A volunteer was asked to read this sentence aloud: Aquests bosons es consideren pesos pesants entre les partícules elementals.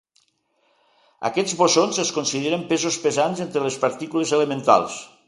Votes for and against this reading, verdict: 2, 0, accepted